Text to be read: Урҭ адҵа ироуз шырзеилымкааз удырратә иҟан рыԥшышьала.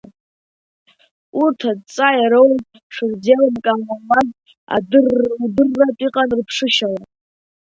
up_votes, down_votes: 0, 2